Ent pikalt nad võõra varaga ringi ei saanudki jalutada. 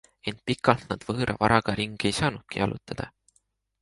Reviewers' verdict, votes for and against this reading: accepted, 2, 0